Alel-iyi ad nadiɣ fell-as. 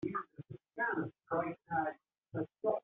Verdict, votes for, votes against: rejected, 1, 2